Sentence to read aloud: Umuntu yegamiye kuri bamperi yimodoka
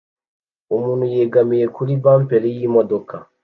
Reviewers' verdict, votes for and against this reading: accepted, 2, 0